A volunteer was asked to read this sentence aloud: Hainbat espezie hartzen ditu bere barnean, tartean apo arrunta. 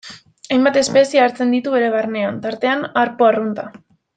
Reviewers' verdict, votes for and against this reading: rejected, 0, 2